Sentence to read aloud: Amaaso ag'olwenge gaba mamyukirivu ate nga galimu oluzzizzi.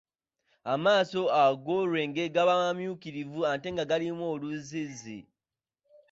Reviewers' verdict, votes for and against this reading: accepted, 2, 0